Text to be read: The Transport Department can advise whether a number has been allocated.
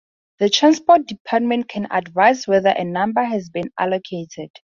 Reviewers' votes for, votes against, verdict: 4, 0, accepted